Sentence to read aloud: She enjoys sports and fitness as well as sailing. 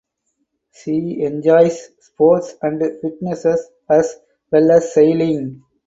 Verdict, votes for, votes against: rejected, 0, 2